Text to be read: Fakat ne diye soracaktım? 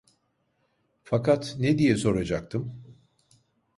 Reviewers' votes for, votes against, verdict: 2, 0, accepted